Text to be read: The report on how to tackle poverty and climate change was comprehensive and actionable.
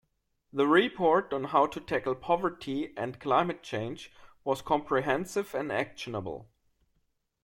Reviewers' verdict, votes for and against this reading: accepted, 2, 0